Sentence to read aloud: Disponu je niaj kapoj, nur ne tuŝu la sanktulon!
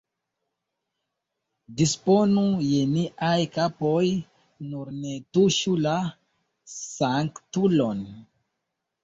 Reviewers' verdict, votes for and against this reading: accepted, 2, 0